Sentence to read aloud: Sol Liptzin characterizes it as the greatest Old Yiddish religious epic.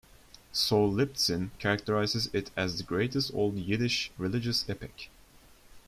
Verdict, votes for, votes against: accepted, 2, 0